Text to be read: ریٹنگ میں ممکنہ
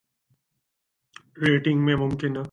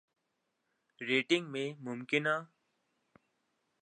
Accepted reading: second